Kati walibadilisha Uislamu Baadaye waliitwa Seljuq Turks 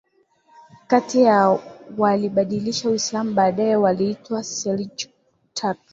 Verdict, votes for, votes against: accepted, 5, 0